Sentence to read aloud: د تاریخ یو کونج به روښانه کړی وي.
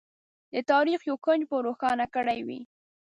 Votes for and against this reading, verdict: 2, 0, accepted